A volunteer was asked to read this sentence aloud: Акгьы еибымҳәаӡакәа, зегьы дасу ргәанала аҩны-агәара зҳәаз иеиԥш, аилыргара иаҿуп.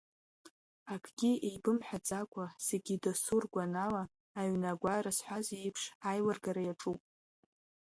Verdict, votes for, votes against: rejected, 0, 2